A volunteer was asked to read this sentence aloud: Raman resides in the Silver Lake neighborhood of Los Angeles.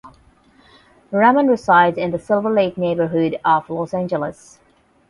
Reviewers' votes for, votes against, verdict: 8, 0, accepted